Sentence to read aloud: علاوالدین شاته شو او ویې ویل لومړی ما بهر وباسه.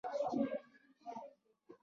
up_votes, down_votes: 0, 2